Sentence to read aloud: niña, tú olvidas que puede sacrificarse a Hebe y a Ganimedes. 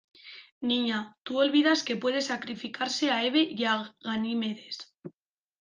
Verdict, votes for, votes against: rejected, 1, 2